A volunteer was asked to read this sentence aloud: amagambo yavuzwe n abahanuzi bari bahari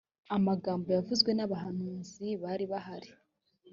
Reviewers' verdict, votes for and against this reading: accepted, 2, 0